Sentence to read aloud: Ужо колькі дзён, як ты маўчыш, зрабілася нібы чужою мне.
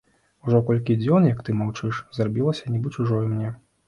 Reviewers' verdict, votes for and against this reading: accepted, 2, 0